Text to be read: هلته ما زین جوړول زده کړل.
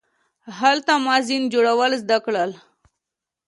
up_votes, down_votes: 2, 0